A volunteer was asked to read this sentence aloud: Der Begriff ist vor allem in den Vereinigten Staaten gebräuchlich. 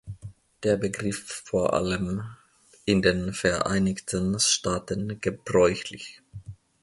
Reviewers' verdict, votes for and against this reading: accepted, 2, 0